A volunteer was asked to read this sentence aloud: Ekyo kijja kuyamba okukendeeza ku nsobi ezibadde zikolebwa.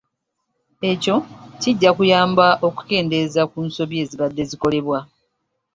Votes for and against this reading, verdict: 3, 0, accepted